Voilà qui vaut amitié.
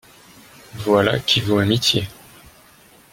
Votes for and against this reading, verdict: 0, 2, rejected